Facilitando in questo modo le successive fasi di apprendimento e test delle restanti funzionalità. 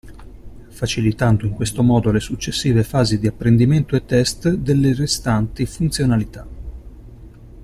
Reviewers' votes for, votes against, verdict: 2, 1, accepted